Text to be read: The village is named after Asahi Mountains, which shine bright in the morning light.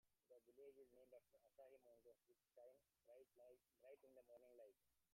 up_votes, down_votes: 1, 2